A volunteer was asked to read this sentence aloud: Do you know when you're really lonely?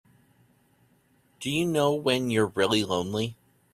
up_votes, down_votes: 2, 0